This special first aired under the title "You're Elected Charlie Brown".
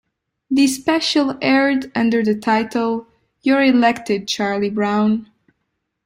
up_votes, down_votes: 1, 2